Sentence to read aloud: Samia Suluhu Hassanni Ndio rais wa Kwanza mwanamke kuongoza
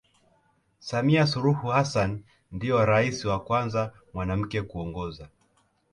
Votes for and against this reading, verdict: 0, 2, rejected